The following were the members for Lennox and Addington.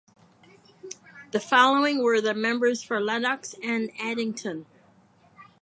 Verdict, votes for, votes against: accepted, 4, 0